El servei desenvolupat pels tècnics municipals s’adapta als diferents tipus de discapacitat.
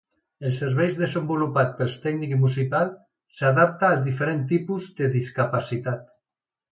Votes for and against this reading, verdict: 1, 2, rejected